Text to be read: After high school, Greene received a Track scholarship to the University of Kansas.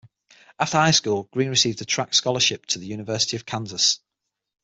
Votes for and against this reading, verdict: 6, 0, accepted